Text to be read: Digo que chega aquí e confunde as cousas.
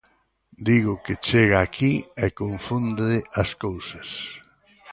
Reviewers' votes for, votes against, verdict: 1, 2, rejected